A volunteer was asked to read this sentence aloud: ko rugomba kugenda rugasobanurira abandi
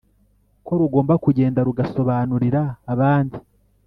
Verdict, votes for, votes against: accepted, 3, 0